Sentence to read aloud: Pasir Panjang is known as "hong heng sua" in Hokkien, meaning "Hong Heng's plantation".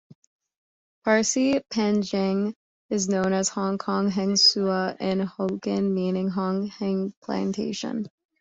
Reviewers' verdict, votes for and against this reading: rejected, 0, 2